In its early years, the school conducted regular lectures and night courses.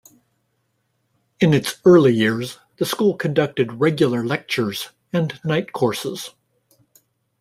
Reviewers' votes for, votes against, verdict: 2, 1, accepted